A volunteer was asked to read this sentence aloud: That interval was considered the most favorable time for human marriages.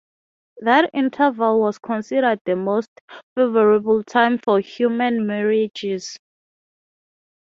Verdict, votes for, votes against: rejected, 0, 6